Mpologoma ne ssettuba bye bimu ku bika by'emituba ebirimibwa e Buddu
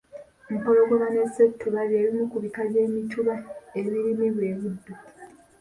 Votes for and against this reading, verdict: 1, 2, rejected